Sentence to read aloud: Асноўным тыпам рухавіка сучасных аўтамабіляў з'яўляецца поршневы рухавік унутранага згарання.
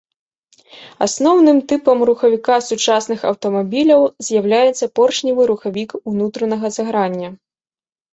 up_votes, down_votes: 2, 0